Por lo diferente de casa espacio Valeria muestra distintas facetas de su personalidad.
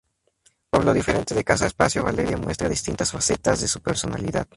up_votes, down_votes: 2, 0